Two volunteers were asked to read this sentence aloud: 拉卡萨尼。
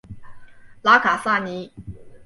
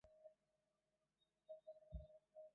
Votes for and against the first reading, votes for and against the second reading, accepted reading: 2, 0, 1, 2, first